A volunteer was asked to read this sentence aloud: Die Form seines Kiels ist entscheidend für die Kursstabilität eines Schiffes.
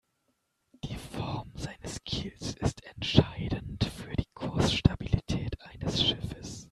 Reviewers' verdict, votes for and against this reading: accepted, 2, 0